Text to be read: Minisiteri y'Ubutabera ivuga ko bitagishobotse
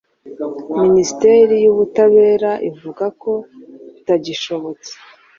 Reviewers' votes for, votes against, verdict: 2, 0, accepted